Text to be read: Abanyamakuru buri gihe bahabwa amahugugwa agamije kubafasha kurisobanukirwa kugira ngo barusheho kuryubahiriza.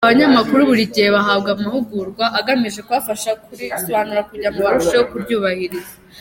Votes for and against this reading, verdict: 1, 2, rejected